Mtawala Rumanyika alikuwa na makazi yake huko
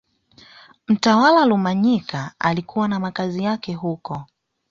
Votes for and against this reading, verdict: 2, 0, accepted